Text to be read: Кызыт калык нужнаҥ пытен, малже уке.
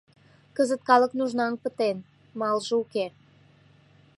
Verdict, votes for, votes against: accepted, 2, 0